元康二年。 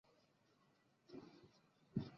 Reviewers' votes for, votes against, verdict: 0, 3, rejected